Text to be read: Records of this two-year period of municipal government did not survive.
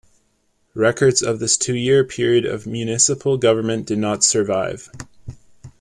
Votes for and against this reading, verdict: 2, 0, accepted